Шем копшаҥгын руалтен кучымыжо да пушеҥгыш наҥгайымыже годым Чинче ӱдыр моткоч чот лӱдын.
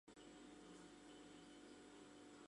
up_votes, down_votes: 0, 2